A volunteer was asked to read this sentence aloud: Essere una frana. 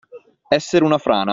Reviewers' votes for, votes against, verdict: 2, 0, accepted